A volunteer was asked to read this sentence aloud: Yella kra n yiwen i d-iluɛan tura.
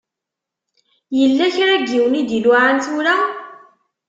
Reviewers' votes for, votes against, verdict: 2, 0, accepted